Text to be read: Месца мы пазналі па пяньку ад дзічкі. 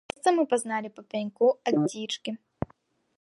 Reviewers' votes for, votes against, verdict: 1, 2, rejected